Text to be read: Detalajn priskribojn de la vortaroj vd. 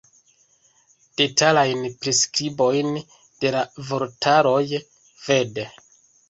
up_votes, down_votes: 2, 1